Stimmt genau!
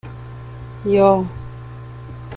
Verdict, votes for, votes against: rejected, 0, 2